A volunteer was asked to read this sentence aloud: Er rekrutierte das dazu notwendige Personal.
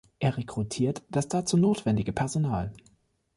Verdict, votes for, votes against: rejected, 1, 2